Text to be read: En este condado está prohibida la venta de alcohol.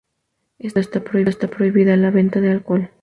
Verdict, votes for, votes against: rejected, 0, 2